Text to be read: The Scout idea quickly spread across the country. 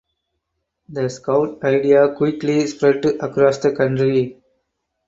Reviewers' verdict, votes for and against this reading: accepted, 4, 0